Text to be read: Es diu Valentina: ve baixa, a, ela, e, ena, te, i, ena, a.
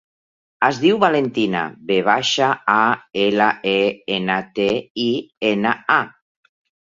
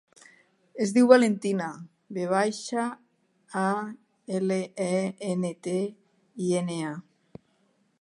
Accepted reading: first